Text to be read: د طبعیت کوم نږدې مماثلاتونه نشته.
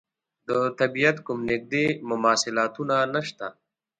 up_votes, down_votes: 2, 0